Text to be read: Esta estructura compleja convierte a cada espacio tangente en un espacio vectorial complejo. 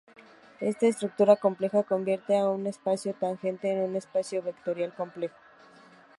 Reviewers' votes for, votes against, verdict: 0, 2, rejected